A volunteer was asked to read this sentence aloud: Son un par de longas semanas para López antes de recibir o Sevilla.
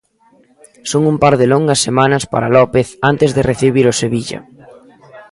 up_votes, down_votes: 1, 2